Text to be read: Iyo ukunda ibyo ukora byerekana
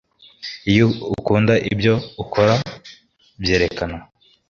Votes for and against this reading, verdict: 2, 0, accepted